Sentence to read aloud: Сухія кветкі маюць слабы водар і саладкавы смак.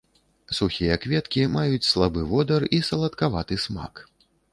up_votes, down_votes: 1, 2